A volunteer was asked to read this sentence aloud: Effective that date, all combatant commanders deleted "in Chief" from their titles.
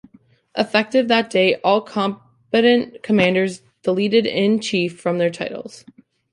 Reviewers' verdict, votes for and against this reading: rejected, 1, 2